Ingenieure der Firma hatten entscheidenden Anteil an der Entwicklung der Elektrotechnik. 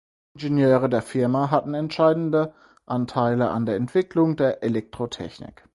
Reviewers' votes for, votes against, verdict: 0, 4, rejected